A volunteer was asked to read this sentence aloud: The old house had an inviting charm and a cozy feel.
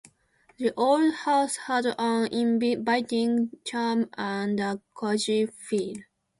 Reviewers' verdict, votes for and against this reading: accepted, 2, 0